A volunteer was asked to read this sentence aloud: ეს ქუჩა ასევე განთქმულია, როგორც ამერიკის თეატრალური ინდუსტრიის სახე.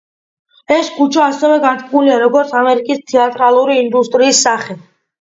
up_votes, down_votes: 2, 0